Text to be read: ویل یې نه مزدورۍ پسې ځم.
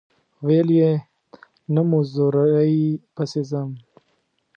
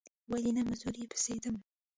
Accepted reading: first